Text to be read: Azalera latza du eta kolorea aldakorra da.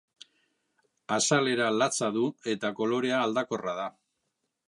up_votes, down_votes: 2, 0